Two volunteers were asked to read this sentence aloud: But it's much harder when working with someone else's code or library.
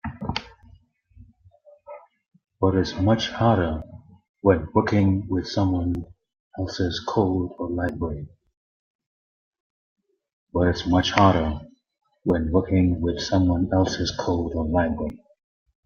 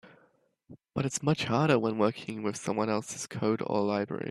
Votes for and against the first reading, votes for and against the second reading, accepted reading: 1, 3, 2, 0, second